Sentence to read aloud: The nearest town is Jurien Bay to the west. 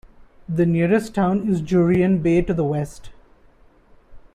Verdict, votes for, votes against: accepted, 2, 1